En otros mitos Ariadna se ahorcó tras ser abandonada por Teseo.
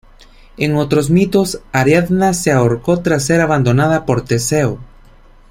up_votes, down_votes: 2, 0